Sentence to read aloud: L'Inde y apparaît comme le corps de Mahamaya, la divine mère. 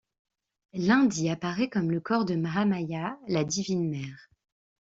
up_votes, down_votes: 2, 0